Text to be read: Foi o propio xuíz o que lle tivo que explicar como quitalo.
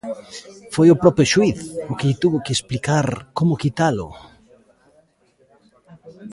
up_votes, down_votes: 0, 2